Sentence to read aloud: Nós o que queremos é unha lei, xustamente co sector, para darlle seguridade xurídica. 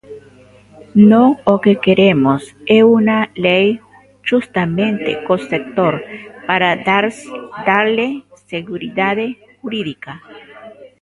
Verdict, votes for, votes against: rejected, 0, 2